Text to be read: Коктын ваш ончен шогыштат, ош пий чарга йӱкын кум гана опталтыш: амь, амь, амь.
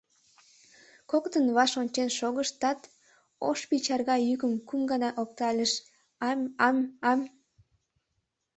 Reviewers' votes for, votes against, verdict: 1, 2, rejected